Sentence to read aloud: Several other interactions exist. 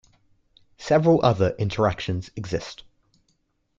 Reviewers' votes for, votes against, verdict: 2, 0, accepted